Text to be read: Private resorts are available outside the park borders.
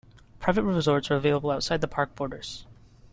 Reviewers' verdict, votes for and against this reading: accepted, 2, 1